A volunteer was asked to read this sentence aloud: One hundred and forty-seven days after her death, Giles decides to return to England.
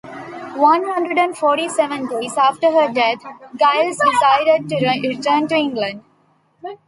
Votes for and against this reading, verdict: 2, 1, accepted